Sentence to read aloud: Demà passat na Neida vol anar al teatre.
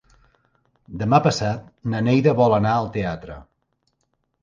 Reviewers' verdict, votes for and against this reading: accepted, 3, 0